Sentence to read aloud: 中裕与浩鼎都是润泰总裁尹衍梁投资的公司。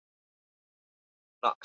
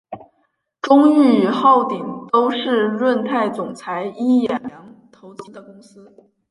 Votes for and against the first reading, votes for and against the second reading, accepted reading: 6, 3, 0, 3, first